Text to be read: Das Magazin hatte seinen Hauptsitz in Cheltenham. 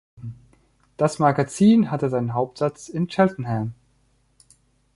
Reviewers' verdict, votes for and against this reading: rejected, 0, 2